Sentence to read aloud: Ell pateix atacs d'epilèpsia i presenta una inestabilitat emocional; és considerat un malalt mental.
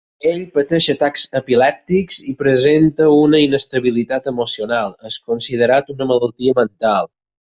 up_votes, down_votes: 0, 4